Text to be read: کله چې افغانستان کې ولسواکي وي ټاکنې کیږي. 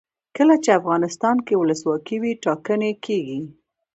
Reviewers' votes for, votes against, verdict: 2, 0, accepted